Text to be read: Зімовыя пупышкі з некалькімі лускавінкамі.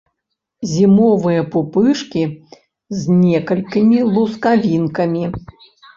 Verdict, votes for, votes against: accepted, 2, 0